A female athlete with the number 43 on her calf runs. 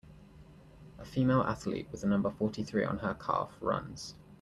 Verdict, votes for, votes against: rejected, 0, 2